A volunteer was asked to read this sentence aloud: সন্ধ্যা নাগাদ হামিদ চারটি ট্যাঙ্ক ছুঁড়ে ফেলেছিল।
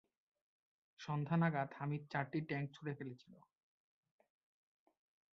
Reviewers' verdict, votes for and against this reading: accepted, 2, 1